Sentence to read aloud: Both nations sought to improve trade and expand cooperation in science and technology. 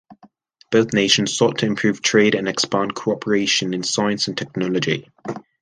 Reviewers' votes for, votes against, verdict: 4, 0, accepted